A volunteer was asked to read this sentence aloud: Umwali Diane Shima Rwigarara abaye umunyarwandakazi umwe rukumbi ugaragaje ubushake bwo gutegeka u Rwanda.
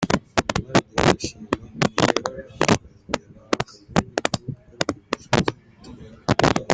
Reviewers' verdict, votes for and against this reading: rejected, 0, 2